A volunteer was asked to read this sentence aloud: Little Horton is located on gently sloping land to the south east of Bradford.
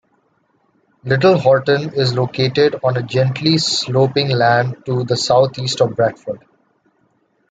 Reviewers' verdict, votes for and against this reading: rejected, 1, 2